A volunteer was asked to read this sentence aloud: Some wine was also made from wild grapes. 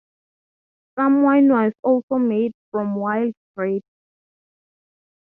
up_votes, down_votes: 3, 0